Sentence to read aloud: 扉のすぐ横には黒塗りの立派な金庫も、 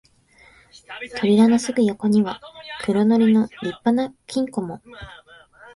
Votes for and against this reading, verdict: 1, 2, rejected